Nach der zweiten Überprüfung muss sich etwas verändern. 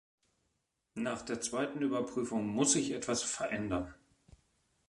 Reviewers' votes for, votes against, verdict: 2, 0, accepted